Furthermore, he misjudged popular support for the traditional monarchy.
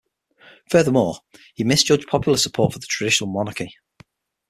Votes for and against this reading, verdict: 6, 0, accepted